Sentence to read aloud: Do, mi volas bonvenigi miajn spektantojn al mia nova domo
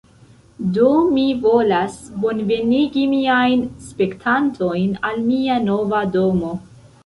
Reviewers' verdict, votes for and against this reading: accepted, 2, 0